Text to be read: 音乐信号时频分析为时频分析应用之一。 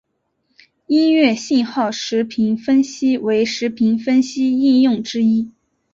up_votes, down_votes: 2, 0